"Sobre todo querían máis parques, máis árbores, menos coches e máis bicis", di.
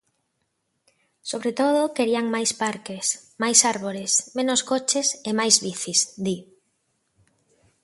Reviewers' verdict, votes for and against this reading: accepted, 2, 0